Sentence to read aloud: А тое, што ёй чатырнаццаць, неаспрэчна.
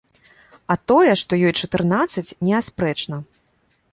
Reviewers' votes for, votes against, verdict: 2, 0, accepted